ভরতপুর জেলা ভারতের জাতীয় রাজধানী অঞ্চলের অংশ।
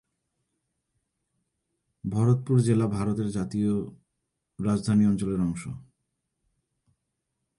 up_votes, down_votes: 0, 2